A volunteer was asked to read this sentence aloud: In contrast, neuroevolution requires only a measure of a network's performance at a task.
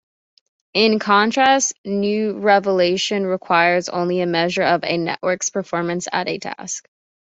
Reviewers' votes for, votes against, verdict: 0, 2, rejected